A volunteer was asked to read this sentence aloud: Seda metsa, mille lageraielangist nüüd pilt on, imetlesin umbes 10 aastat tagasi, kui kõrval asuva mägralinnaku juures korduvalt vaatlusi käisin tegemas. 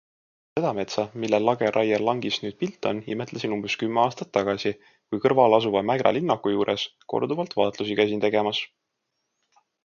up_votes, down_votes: 0, 2